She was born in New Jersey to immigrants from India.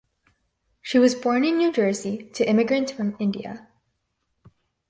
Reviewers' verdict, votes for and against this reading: accepted, 4, 0